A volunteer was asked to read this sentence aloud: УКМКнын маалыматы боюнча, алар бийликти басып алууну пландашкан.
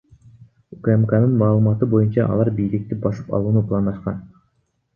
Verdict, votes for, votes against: accepted, 2, 0